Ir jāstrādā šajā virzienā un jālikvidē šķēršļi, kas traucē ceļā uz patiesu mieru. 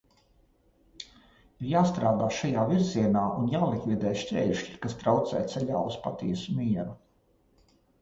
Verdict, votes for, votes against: rejected, 1, 2